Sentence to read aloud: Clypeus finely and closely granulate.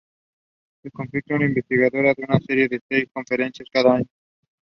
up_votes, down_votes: 0, 2